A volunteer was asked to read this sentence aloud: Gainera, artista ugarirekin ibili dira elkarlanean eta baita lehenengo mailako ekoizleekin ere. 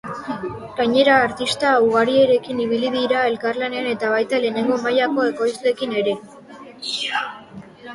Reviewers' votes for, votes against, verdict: 2, 0, accepted